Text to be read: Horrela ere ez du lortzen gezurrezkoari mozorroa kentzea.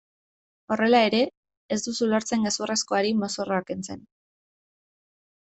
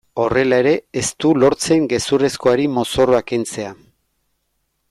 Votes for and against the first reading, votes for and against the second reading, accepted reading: 1, 2, 2, 0, second